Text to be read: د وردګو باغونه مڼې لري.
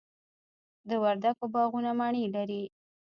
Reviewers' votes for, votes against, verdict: 1, 2, rejected